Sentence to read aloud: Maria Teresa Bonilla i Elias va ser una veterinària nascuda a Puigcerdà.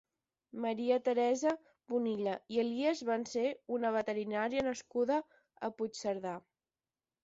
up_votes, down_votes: 0, 10